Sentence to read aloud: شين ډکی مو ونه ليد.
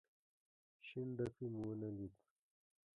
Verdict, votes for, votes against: accepted, 2, 1